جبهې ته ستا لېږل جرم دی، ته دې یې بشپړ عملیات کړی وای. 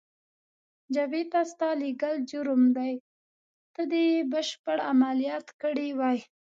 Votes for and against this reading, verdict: 2, 0, accepted